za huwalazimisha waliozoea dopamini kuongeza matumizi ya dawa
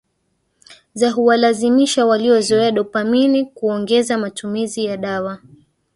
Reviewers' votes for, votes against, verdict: 1, 2, rejected